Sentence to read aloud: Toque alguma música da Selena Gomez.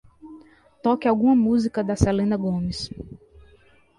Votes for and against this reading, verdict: 2, 0, accepted